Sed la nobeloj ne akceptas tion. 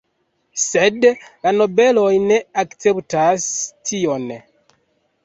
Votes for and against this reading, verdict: 3, 0, accepted